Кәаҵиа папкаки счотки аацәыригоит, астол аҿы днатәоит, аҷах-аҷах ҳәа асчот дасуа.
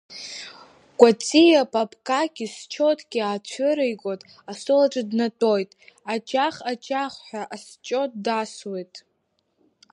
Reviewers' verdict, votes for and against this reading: rejected, 1, 2